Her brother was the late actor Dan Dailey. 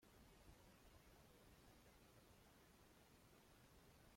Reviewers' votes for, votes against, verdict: 1, 2, rejected